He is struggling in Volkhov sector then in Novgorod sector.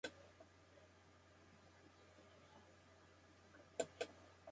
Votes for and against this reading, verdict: 0, 2, rejected